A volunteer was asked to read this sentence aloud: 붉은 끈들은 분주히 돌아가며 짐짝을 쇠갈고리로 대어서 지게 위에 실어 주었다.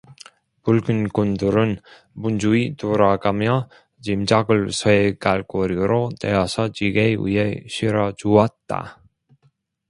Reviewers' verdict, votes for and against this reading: rejected, 0, 2